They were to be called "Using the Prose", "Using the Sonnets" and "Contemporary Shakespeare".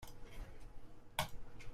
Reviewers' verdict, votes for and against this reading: rejected, 0, 2